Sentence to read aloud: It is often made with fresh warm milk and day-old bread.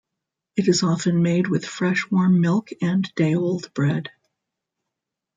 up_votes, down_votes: 2, 0